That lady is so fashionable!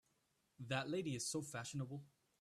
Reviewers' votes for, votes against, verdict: 3, 0, accepted